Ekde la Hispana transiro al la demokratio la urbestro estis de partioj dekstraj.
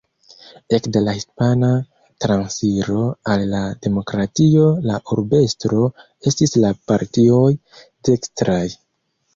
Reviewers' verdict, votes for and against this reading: rejected, 0, 2